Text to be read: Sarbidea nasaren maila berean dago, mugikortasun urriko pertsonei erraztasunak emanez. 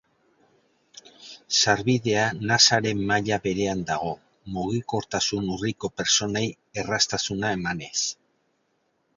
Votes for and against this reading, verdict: 1, 4, rejected